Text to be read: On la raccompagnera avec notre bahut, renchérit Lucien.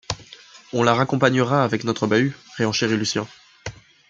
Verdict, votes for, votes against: rejected, 1, 2